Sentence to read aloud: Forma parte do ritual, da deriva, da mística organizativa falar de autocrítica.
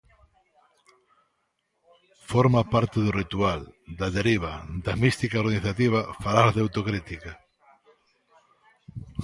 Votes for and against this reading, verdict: 2, 0, accepted